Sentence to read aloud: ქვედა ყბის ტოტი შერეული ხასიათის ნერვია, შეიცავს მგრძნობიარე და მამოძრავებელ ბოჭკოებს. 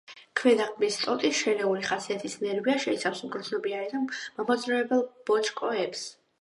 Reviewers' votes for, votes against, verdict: 2, 0, accepted